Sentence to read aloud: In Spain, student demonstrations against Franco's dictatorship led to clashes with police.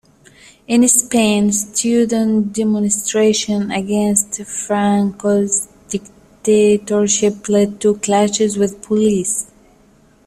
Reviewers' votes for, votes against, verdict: 0, 2, rejected